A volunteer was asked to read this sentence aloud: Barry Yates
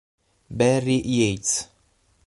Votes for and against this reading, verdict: 6, 0, accepted